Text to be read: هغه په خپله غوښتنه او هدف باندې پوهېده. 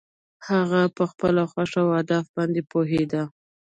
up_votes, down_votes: 1, 2